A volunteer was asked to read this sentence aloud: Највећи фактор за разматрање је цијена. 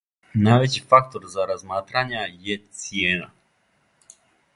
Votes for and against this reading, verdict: 0, 2, rejected